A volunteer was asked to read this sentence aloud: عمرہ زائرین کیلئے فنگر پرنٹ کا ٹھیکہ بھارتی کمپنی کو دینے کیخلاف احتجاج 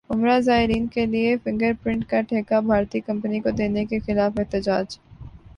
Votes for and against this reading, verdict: 2, 1, accepted